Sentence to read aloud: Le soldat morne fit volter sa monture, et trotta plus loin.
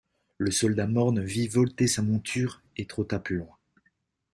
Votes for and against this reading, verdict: 0, 2, rejected